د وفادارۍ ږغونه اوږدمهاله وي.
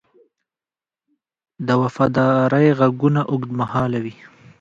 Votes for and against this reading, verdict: 1, 2, rejected